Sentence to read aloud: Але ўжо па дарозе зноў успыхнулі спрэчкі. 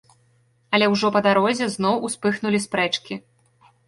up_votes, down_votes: 2, 0